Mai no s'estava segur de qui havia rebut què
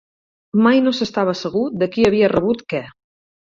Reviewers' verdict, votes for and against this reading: accepted, 6, 0